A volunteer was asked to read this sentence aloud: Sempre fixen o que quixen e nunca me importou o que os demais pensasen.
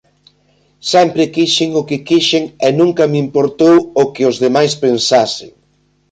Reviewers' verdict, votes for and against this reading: rejected, 0, 2